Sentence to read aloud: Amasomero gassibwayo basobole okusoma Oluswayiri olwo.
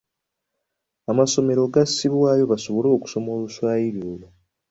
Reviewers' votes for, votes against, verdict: 2, 0, accepted